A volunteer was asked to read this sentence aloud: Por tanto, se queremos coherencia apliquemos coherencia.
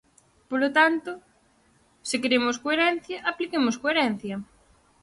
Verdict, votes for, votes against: rejected, 0, 4